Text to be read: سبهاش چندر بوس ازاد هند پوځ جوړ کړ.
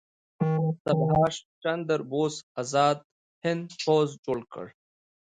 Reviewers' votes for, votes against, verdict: 0, 2, rejected